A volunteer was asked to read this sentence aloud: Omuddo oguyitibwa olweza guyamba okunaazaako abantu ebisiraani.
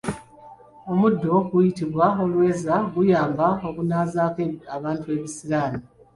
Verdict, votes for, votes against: rejected, 1, 2